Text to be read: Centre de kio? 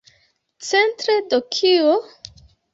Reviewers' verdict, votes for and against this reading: rejected, 0, 2